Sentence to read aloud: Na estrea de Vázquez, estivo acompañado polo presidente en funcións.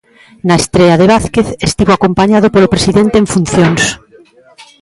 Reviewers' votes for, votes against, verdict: 2, 0, accepted